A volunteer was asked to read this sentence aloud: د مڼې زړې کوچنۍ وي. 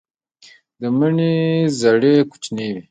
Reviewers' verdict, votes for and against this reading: rejected, 0, 2